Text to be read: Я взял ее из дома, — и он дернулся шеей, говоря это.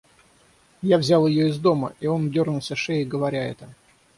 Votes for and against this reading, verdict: 6, 0, accepted